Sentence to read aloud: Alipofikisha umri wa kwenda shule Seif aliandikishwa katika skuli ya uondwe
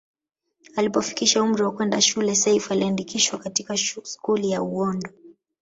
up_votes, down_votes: 1, 2